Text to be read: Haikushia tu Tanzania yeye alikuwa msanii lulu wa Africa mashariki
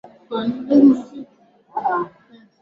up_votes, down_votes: 0, 3